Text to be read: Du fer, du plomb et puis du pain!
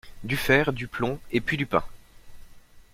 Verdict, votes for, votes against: accepted, 2, 0